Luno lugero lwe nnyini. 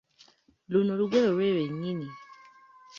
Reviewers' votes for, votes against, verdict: 2, 0, accepted